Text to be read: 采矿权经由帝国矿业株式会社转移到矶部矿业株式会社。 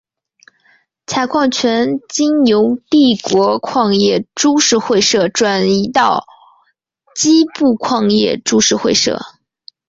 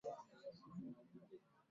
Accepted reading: first